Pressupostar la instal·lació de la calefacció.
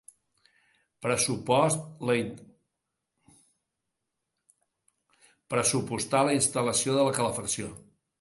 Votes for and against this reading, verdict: 0, 2, rejected